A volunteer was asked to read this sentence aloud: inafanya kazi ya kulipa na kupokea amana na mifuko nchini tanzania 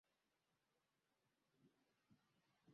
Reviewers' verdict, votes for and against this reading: rejected, 0, 2